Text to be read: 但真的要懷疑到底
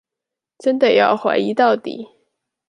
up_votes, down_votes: 1, 2